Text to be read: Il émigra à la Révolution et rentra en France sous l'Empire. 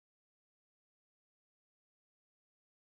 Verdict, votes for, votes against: rejected, 0, 2